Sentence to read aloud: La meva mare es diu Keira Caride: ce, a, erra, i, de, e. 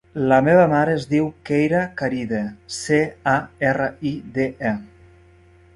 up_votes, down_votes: 2, 0